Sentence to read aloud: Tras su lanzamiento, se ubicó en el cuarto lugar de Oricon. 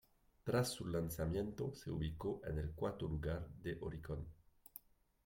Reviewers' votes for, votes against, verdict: 2, 0, accepted